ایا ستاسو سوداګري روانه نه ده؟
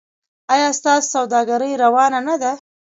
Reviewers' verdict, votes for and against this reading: rejected, 0, 2